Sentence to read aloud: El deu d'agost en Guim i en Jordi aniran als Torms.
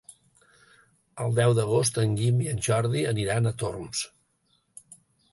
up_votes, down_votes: 2, 3